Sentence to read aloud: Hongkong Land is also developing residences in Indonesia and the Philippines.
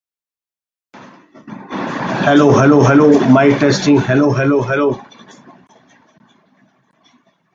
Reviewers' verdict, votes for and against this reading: rejected, 0, 2